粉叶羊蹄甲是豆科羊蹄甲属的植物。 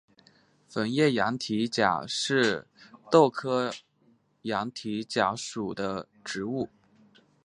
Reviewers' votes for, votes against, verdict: 2, 1, accepted